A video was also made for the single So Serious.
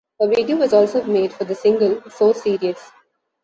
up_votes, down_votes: 2, 1